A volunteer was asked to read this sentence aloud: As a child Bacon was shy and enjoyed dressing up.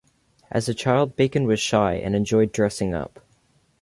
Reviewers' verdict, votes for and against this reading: rejected, 0, 2